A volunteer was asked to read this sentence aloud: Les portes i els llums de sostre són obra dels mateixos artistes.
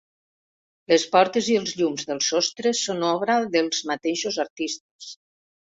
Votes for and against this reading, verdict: 0, 2, rejected